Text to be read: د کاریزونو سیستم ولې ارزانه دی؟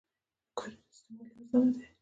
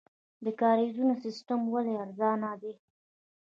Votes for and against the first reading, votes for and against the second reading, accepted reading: 0, 2, 2, 1, second